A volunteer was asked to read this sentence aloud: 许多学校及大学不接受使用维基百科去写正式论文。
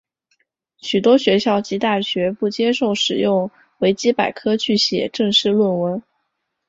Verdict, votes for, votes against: accepted, 2, 0